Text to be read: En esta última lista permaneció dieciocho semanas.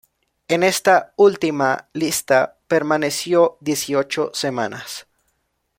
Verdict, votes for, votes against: accepted, 2, 0